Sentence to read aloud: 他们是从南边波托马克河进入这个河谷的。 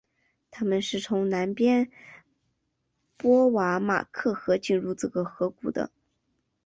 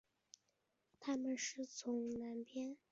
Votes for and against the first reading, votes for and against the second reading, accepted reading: 2, 0, 0, 3, first